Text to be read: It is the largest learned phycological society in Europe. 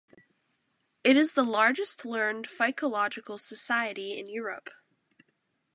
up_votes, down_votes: 2, 0